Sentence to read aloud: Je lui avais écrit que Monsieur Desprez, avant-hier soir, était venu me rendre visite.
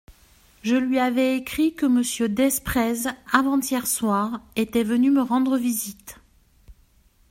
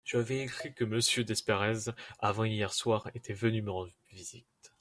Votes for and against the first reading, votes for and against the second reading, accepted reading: 2, 0, 1, 2, first